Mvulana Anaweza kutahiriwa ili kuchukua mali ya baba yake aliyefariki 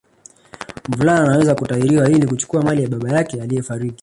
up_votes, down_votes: 1, 2